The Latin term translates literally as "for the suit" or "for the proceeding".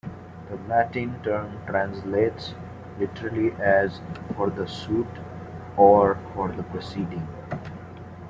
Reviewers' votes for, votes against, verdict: 2, 1, accepted